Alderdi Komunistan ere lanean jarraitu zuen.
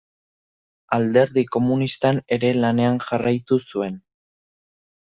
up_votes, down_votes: 2, 0